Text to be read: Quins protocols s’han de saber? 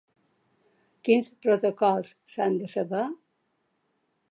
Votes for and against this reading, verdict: 3, 0, accepted